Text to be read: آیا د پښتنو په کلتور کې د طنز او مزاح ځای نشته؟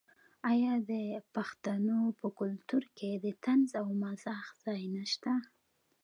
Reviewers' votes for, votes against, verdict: 2, 0, accepted